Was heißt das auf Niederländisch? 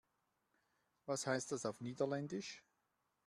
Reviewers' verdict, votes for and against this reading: accepted, 2, 0